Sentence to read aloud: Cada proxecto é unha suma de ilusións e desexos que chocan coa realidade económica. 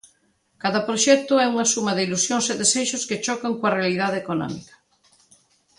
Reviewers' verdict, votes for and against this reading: accepted, 2, 0